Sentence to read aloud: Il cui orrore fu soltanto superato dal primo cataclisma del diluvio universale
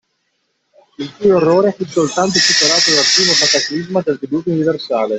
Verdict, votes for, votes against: rejected, 0, 2